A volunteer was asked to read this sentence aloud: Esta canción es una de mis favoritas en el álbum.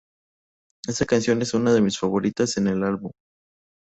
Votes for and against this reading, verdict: 0, 2, rejected